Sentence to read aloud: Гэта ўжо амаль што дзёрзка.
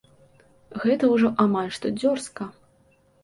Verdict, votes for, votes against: accepted, 2, 0